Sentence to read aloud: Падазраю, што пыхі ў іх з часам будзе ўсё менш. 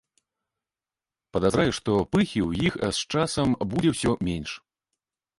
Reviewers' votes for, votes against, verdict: 0, 2, rejected